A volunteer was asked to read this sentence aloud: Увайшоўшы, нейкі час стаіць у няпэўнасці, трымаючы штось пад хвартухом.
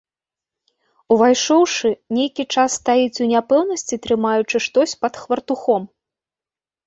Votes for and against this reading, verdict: 2, 0, accepted